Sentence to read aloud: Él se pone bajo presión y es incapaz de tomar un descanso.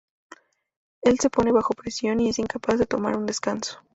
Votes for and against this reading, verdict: 4, 0, accepted